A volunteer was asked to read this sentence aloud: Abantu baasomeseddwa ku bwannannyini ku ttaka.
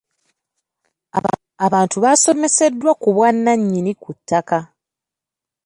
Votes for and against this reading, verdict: 2, 0, accepted